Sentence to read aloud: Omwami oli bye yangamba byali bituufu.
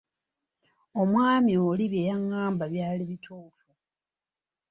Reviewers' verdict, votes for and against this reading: accepted, 2, 0